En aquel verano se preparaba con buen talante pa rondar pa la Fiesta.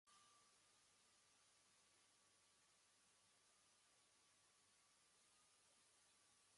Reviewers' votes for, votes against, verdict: 1, 2, rejected